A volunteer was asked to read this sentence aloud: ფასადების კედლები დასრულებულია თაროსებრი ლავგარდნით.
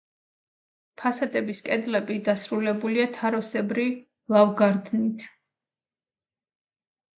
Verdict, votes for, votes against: rejected, 1, 2